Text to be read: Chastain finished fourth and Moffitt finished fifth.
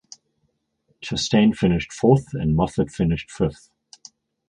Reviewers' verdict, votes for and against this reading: accepted, 4, 0